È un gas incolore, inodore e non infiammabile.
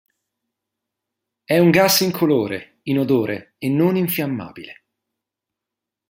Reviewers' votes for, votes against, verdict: 2, 0, accepted